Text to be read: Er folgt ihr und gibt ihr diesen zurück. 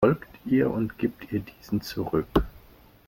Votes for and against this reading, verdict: 0, 2, rejected